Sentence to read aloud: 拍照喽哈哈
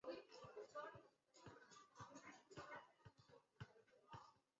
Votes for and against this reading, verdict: 0, 4, rejected